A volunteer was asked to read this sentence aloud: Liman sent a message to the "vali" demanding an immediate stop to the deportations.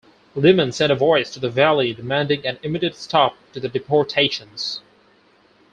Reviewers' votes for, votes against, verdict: 0, 4, rejected